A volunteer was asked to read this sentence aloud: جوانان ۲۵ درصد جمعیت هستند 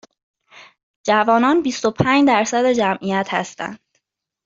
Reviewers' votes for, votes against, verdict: 0, 2, rejected